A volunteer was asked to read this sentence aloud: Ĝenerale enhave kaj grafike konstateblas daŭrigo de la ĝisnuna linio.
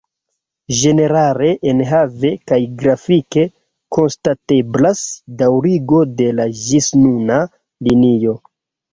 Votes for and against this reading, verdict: 0, 2, rejected